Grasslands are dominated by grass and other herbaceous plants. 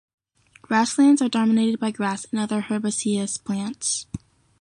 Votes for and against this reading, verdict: 1, 2, rejected